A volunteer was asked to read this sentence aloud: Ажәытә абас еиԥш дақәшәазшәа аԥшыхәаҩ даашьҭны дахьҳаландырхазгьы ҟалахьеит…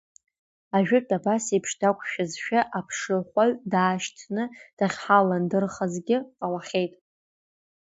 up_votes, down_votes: 1, 2